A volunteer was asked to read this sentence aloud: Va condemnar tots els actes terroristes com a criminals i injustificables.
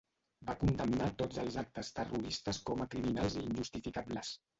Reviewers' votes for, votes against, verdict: 1, 2, rejected